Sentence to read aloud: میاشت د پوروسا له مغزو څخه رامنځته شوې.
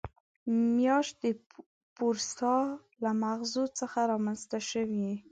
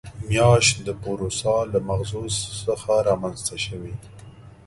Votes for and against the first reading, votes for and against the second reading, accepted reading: 1, 2, 2, 0, second